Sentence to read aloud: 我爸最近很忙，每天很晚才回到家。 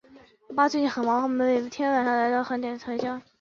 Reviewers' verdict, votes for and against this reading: rejected, 1, 4